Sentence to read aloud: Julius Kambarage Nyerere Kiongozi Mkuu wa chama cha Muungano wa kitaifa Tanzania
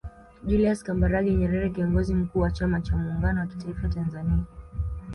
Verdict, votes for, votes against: accepted, 2, 1